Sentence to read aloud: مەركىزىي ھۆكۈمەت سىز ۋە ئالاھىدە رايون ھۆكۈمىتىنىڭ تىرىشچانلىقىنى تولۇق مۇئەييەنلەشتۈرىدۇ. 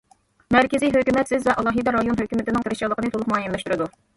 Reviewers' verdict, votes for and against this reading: accepted, 2, 0